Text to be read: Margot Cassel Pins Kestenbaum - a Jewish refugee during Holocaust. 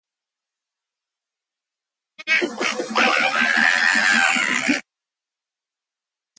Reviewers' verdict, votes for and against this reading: rejected, 0, 2